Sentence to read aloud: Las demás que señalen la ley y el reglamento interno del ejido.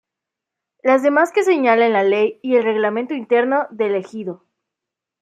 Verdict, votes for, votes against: accepted, 2, 0